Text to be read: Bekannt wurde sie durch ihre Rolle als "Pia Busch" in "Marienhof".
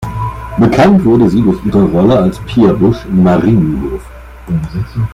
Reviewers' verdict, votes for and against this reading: accepted, 2, 0